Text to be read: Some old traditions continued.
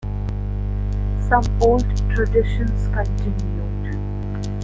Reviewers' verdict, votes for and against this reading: rejected, 0, 2